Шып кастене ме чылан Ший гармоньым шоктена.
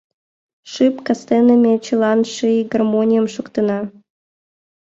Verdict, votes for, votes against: accepted, 2, 0